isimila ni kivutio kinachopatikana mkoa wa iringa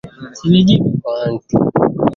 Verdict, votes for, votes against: accepted, 2, 0